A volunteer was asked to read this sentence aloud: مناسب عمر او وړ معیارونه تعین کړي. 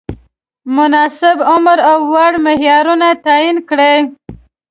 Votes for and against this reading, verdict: 0, 2, rejected